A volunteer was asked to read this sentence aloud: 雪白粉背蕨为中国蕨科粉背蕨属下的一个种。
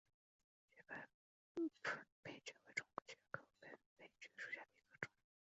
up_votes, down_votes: 2, 4